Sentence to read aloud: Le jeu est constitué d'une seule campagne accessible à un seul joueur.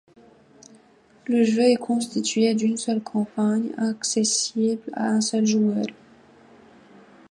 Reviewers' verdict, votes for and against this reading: accepted, 2, 0